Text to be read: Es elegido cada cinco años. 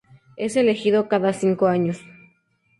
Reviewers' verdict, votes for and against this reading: accepted, 4, 0